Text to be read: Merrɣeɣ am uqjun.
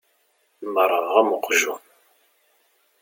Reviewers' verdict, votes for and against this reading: accepted, 2, 0